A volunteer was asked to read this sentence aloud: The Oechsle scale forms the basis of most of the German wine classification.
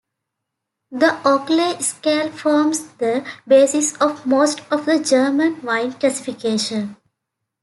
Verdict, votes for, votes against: rejected, 1, 2